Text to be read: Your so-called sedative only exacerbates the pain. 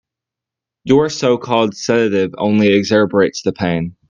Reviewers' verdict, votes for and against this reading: accepted, 2, 1